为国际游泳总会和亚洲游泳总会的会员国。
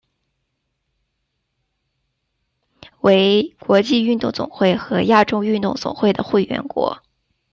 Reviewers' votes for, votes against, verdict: 0, 2, rejected